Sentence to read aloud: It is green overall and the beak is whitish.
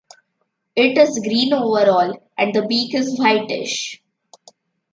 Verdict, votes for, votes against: accepted, 2, 0